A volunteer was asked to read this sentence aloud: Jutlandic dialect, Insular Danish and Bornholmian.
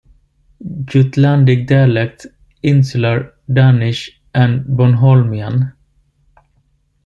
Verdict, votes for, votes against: accepted, 2, 0